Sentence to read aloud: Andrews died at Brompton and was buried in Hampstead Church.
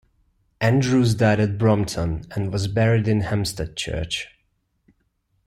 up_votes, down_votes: 2, 0